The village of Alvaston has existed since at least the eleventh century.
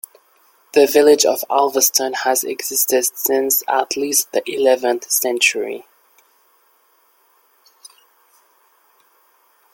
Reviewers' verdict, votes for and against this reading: accepted, 2, 1